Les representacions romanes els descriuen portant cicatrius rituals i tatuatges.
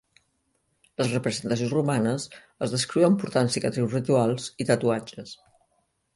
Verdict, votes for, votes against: accepted, 2, 0